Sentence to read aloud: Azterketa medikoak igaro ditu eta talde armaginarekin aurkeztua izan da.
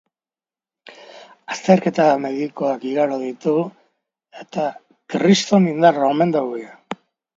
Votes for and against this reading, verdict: 0, 2, rejected